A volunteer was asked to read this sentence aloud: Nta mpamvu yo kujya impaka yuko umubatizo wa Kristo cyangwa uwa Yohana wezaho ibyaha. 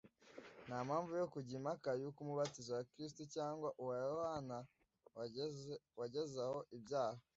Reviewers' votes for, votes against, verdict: 1, 3, rejected